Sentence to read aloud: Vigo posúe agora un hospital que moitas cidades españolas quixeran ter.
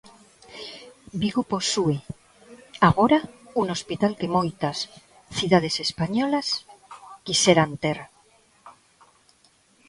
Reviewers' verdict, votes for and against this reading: rejected, 1, 2